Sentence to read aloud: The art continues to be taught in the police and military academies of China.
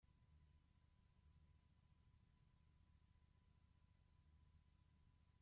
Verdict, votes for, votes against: rejected, 0, 2